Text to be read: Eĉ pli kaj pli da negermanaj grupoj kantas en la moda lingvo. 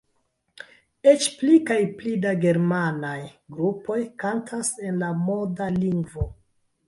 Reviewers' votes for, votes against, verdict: 1, 2, rejected